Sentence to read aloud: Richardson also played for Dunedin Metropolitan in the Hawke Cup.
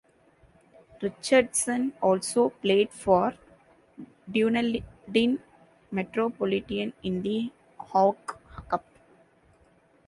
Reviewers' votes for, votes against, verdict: 1, 2, rejected